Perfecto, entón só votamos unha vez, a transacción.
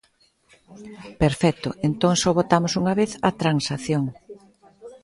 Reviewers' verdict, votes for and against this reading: rejected, 1, 2